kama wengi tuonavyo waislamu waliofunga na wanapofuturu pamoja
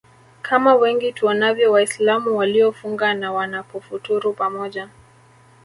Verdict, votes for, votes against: accepted, 2, 0